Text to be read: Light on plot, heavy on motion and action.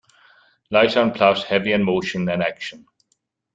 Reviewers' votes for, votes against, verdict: 1, 2, rejected